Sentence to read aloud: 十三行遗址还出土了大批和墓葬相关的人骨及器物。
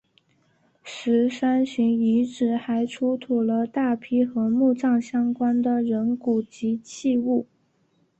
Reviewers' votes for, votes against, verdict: 7, 0, accepted